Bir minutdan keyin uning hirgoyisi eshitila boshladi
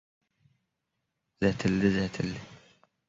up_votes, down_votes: 1, 2